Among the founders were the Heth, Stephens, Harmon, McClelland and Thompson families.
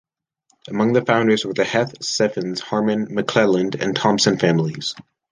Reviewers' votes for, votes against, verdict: 0, 2, rejected